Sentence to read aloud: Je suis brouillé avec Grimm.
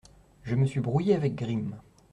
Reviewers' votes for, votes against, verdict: 0, 2, rejected